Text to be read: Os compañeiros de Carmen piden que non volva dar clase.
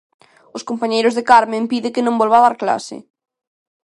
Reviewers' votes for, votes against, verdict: 1, 2, rejected